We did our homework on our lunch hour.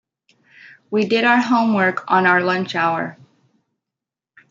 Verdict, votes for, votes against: accepted, 2, 0